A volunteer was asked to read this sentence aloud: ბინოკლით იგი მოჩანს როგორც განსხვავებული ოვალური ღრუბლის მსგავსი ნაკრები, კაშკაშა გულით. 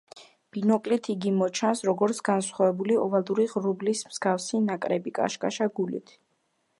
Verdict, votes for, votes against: accepted, 2, 1